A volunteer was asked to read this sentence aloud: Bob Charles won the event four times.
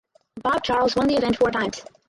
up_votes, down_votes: 2, 2